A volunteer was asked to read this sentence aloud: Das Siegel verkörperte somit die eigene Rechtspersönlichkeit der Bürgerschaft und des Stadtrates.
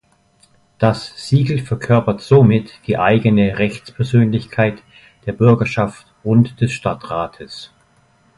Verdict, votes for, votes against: rejected, 0, 2